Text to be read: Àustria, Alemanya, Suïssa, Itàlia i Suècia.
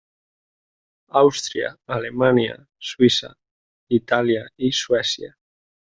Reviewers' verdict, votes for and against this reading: rejected, 1, 2